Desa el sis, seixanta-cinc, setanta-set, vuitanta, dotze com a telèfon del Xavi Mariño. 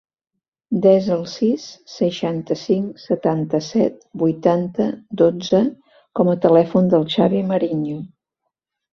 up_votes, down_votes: 2, 0